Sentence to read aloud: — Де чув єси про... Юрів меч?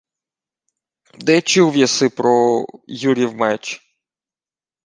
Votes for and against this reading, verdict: 2, 1, accepted